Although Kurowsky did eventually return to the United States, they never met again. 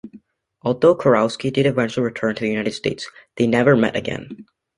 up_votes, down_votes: 2, 0